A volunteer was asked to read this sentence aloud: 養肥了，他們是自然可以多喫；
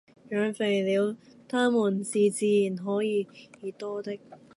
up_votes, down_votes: 0, 2